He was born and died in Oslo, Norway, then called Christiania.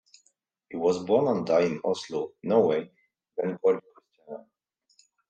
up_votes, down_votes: 0, 2